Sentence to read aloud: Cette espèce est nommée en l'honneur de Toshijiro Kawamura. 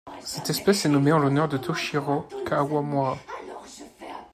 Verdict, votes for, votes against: accepted, 2, 1